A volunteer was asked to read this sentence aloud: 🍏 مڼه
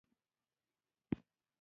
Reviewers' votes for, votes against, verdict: 2, 0, accepted